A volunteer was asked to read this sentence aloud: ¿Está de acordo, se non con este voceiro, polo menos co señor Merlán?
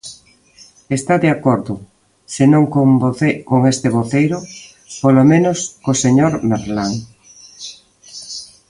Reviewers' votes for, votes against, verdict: 1, 2, rejected